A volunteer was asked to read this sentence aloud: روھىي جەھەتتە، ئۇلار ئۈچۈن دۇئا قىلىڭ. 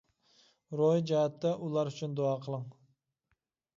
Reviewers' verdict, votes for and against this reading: accepted, 2, 0